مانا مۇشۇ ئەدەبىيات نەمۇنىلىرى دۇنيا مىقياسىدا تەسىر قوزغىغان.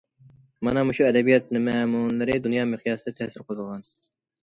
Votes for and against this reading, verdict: 0, 2, rejected